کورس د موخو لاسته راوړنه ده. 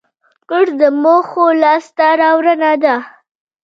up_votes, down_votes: 1, 2